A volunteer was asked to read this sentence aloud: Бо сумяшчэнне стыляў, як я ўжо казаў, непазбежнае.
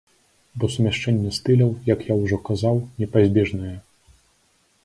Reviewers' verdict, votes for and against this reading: accepted, 2, 0